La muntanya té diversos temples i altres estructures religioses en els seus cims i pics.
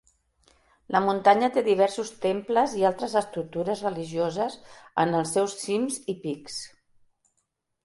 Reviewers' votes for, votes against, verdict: 2, 0, accepted